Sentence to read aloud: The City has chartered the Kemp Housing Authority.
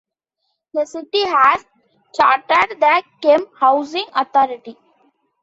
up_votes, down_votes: 2, 0